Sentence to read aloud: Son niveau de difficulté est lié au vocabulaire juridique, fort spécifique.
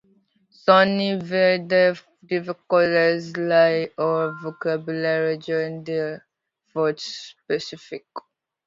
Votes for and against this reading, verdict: 0, 2, rejected